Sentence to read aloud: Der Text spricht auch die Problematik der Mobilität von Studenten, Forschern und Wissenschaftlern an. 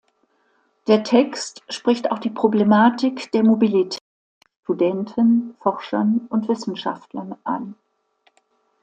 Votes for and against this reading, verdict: 1, 2, rejected